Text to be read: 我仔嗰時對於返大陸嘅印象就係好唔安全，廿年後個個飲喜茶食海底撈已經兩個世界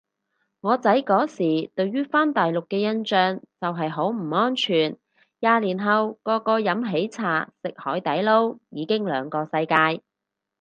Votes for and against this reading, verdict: 4, 0, accepted